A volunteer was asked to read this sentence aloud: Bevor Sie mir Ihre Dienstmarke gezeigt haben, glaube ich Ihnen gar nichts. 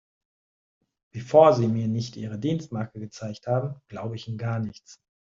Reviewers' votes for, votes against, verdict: 0, 2, rejected